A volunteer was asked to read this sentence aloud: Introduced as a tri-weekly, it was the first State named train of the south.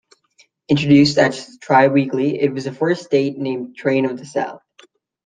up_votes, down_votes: 2, 1